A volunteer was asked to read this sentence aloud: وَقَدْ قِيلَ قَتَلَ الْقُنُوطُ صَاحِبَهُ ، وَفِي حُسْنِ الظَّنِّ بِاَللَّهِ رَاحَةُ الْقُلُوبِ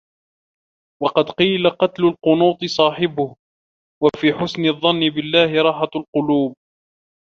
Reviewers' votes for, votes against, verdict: 0, 2, rejected